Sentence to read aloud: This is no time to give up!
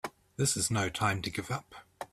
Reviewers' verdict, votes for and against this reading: accepted, 3, 0